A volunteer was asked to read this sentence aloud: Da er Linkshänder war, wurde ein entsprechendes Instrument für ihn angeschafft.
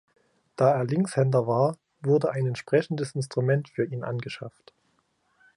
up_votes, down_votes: 3, 0